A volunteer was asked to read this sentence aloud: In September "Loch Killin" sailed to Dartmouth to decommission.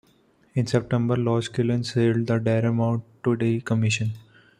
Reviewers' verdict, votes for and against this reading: rejected, 1, 2